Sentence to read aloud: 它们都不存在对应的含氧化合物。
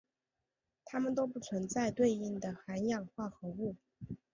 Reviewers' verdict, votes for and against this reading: accepted, 2, 0